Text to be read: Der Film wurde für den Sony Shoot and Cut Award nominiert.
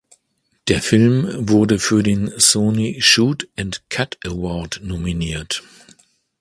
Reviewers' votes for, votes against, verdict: 2, 0, accepted